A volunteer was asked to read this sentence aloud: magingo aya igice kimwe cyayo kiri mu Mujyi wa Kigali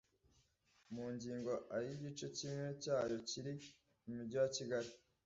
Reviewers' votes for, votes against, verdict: 1, 2, rejected